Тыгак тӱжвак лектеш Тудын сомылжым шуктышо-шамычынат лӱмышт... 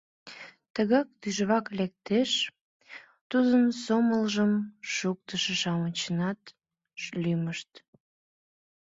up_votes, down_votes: 0, 2